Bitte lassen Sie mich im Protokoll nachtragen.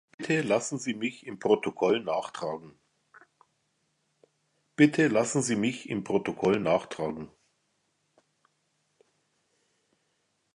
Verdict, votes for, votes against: rejected, 0, 2